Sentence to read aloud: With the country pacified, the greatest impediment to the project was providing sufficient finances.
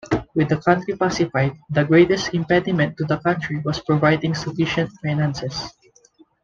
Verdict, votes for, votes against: accepted, 2, 1